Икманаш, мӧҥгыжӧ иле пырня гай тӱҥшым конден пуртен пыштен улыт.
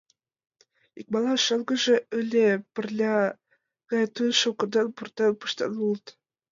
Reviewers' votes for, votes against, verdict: 0, 2, rejected